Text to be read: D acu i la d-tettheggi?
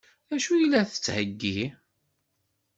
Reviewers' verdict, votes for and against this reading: rejected, 1, 2